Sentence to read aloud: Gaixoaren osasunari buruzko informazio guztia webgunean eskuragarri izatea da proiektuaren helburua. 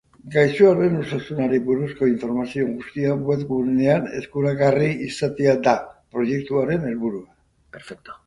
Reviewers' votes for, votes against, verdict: 1, 2, rejected